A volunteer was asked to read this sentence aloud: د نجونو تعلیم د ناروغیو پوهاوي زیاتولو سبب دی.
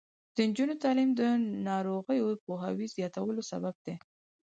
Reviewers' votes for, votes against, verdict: 4, 0, accepted